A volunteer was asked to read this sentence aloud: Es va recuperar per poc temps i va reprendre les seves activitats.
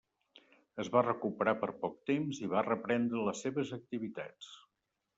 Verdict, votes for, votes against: accepted, 3, 0